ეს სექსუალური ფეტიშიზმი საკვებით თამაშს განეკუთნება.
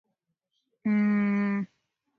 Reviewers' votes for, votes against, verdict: 0, 2, rejected